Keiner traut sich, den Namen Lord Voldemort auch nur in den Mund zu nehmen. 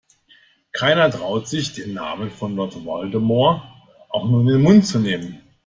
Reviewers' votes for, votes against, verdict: 1, 2, rejected